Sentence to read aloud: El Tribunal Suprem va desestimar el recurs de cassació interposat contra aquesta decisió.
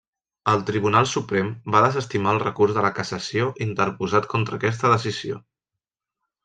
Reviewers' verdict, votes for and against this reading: rejected, 0, 2